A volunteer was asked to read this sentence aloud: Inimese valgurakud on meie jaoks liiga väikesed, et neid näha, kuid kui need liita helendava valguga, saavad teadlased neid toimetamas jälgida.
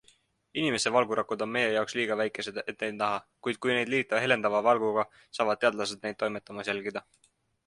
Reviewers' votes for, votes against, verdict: 2, 0, accepted